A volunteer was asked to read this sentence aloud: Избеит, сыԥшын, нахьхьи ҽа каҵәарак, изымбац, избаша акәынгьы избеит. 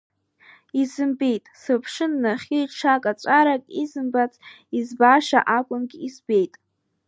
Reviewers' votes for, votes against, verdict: 1, 2, rejected